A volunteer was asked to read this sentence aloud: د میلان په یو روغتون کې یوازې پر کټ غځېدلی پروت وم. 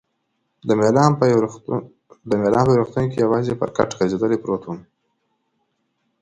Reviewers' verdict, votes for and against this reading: rejected, 1, 2